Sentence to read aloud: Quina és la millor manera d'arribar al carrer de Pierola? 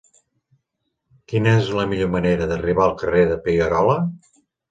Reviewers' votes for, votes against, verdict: 2, 0, accepted